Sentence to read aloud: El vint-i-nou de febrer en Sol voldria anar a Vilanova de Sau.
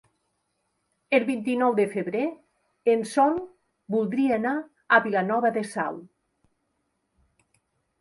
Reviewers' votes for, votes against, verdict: 4, 0, accepted